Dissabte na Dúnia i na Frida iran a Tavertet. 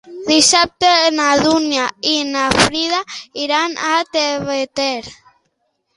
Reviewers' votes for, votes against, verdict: 0, 3, rejected